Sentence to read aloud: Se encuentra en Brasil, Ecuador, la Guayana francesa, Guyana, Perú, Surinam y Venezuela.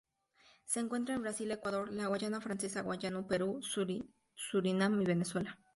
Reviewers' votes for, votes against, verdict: 0, 2, rejected